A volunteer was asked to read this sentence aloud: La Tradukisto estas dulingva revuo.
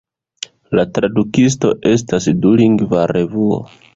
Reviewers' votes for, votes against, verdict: 2, 0, accepted